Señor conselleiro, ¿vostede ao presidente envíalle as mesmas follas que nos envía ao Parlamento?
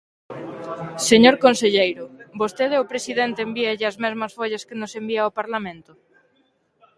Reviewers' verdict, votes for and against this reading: accepted, 2, 0